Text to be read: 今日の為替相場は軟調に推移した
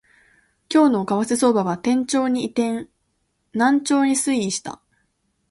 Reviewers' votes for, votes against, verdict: 1, 2, rejected